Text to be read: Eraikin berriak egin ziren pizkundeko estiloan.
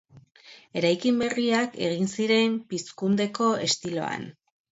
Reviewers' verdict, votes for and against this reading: accepted, 2, 0